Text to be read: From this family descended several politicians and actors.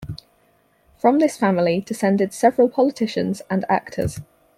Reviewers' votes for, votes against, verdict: 4, 0, accepted